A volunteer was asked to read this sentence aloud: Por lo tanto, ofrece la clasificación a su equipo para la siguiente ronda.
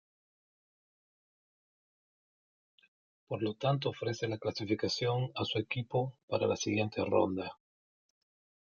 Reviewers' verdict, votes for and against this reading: accepted, 2, 1